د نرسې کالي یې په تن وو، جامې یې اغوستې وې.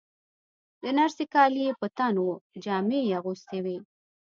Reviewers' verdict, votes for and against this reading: accepted, 2, 0